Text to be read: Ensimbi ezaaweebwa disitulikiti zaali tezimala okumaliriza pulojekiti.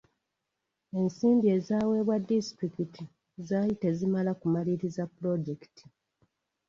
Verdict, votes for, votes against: accepted, 2, 0